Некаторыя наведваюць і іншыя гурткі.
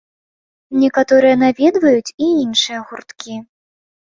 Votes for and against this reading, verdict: 2, 0, accepted